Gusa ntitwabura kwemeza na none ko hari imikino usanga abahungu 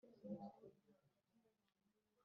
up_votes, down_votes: 0, 2